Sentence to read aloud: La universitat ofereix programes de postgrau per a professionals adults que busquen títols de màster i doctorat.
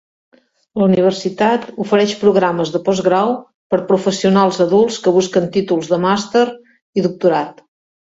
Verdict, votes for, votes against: rejected, 1, 2